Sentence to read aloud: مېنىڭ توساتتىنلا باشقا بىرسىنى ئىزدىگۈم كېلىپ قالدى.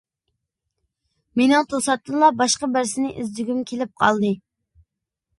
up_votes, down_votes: 2, 0